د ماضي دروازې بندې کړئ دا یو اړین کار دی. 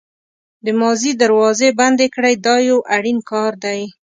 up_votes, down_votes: 2, 0